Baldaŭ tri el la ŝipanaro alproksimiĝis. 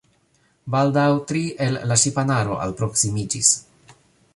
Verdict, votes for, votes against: accepted, 2, 1